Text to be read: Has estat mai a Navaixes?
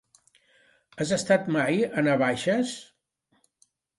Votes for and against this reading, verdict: 2, 0, accepted